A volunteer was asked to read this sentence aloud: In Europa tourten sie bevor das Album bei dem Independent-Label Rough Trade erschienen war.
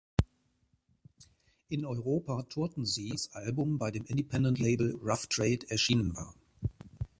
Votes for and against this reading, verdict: 0, 2, rejected